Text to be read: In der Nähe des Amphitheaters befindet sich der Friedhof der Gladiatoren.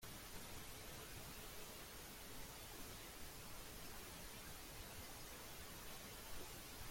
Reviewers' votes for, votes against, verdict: 0, 2, rejected